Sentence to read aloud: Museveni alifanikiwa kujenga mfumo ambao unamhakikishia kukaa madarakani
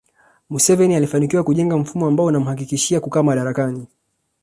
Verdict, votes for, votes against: accepted, 2, 0